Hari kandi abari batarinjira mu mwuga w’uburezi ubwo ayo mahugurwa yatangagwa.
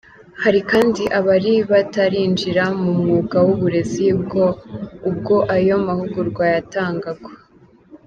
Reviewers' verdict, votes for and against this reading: rejected, 0, 2